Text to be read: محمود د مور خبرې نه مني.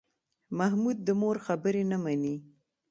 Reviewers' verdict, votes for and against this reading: accepted, 2, 0